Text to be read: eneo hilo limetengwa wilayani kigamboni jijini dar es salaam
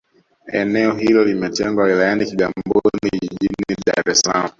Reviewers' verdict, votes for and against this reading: rejected, 1, 2